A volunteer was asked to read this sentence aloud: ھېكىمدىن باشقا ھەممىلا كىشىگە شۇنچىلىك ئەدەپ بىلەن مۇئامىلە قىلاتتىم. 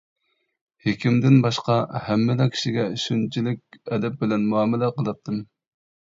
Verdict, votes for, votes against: accepted, 2, 0